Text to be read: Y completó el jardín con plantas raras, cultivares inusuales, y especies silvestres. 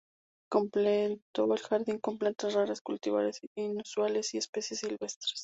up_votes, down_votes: 0, 2